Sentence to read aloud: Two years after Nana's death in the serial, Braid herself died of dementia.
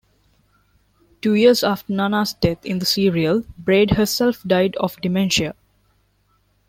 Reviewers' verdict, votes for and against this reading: accepted, 2, 0